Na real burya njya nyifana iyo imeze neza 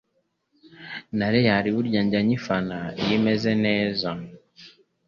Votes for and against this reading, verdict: 2, 0, accepted